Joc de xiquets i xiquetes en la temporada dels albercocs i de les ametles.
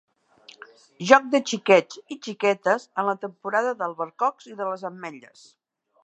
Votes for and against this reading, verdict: 0, 2, rejected